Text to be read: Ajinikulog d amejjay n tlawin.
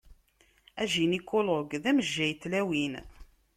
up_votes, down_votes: 2, 0